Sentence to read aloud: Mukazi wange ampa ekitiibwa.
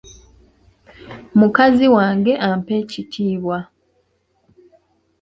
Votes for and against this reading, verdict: 2, 0, accepted